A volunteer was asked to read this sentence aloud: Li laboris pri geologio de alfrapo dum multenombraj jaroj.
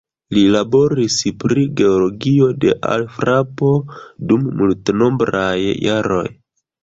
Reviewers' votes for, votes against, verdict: 0, 2, rejected